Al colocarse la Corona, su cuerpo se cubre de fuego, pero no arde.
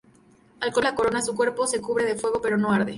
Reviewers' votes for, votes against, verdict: 0, 2, rejected